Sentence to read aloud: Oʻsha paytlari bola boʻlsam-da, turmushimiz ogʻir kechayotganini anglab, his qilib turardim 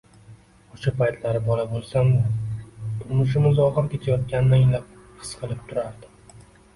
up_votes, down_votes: 1, 2